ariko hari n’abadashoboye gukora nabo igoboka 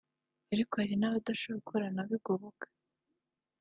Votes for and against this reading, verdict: 2, 1, accepted